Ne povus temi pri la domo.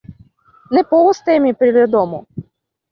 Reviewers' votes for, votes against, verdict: 2, 0, accepted